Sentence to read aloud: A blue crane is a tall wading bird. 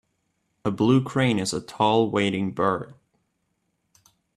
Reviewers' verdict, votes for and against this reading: accepted, 2, 0